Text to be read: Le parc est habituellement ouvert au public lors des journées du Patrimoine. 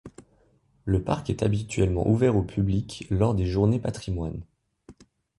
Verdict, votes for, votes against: rejected, 0, 2